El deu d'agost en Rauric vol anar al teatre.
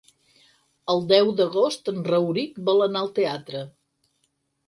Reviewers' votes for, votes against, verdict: 6, 0, accepted